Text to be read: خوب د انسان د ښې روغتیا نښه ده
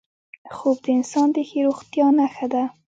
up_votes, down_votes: 2, 1